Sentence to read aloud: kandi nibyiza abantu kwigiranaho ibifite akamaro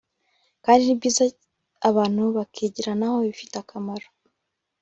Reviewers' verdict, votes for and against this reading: rejected, 1, 2